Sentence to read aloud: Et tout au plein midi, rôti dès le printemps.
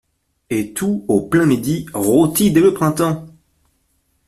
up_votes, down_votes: 2, 0